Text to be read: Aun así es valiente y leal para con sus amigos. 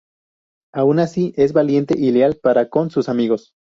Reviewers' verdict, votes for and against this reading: rejected, 0, 2